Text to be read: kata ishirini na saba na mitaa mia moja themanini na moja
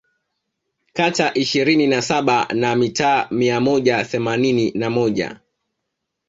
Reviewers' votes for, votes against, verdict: 0, 2, rejected